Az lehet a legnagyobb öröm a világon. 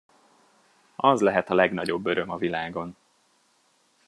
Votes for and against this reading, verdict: 2, 0, accepted